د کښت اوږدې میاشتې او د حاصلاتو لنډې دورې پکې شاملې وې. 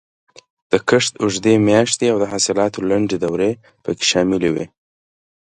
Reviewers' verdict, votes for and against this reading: accepted, 2, 0